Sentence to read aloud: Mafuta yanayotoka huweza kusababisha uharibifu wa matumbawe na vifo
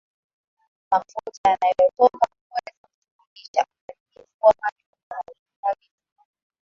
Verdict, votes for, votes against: rejected, 0, 3